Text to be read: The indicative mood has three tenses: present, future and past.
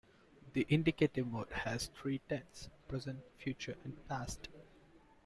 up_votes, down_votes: 2, 1